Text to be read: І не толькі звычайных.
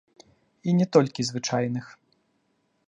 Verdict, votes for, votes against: accepted, 2, 0